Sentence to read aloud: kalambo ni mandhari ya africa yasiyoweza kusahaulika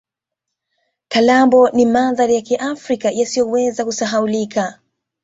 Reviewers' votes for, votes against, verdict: 2, 0, accepted